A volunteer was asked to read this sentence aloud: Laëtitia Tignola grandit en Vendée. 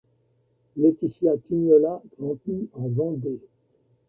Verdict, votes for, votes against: accepted, 2, 0